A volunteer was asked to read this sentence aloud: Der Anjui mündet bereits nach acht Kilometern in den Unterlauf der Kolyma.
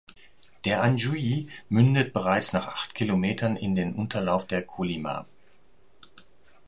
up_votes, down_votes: 2, 0